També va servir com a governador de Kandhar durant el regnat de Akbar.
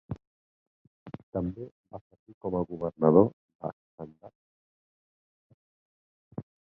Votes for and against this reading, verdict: 0, 6, rejected